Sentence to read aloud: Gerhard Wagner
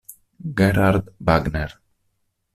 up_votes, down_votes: 2, 0